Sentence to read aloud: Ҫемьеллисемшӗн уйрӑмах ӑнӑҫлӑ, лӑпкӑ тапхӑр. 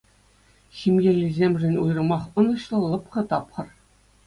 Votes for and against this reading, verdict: 2, 0, accepted